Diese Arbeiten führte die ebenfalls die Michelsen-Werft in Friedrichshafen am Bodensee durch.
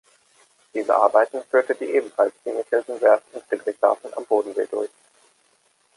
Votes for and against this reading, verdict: 1, 2, rejected